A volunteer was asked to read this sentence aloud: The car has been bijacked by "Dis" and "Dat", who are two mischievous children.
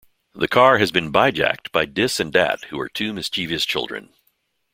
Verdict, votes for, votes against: accepted, 2, 0